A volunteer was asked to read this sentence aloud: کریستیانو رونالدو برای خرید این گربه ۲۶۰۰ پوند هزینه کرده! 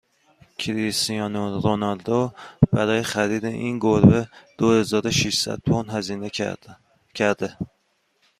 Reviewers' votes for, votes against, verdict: 0, 2, rejected